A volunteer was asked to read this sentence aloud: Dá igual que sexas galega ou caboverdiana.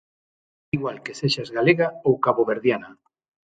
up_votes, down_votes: 3, 6